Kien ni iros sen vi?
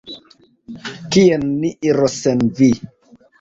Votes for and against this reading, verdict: 2, 1, accepted